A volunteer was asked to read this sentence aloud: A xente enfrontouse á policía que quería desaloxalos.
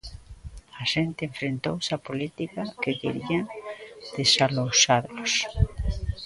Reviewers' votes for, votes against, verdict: 0, 2, rejected